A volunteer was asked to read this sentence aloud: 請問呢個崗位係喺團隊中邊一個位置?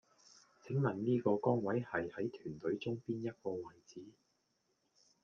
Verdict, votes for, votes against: rejected, 1, 2